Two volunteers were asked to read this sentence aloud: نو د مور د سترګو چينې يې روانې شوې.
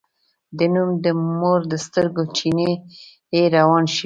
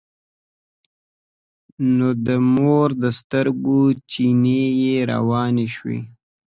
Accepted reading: second